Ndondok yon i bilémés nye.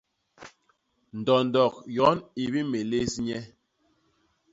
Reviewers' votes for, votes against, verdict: 1, 2, rejected